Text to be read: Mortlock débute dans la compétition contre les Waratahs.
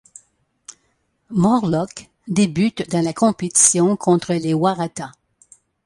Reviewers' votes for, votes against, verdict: 2, 0, accepted